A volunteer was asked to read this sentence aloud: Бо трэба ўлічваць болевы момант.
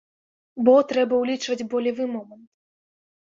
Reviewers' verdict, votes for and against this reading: rejected, 1, 2